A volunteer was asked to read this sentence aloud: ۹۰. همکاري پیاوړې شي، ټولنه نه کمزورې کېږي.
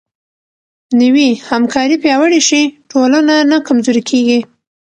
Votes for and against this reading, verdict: 0, 2, rejected